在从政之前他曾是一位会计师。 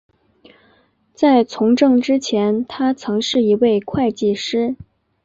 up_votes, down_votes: 2, 0